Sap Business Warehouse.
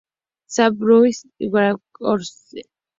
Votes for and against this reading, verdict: 0, 2, rejected